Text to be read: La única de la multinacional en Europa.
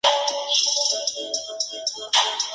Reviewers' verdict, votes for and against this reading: rejected, 0, 4